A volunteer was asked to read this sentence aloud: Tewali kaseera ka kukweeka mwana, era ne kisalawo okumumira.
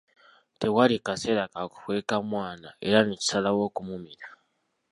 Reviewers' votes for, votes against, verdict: 2, 1, accepted